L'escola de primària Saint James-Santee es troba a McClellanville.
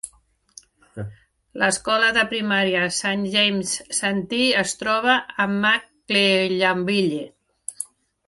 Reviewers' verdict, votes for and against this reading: accepted, 2, 0